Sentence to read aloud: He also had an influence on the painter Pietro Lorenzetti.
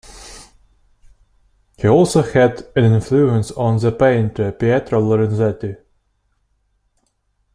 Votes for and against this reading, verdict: 2, 0, accepted